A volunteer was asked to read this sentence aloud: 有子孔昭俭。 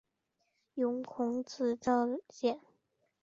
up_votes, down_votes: 3, 0